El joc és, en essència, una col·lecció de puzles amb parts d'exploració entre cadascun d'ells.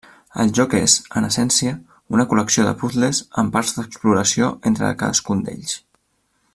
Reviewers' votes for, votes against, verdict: 2, 0, accepted